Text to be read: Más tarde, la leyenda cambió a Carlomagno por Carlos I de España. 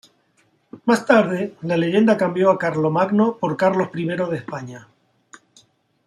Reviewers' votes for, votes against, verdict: 2, 0, accepted